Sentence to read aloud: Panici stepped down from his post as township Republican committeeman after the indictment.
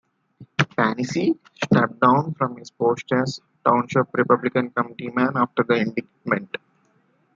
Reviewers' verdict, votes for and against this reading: rejected, 1, 2